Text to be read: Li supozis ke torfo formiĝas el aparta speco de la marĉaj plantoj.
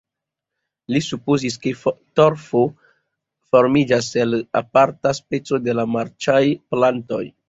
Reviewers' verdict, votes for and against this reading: accepted, 3, 2